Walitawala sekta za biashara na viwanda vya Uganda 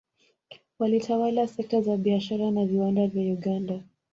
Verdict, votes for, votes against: accepted, 2, 0